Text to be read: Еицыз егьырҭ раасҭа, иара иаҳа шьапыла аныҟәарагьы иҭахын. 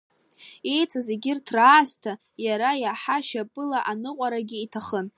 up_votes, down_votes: 2, 0